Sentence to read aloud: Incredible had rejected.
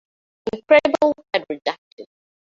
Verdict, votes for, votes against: rejected, 0, 2